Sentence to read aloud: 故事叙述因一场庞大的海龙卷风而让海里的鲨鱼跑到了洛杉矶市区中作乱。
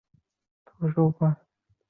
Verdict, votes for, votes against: rejected, 0, 2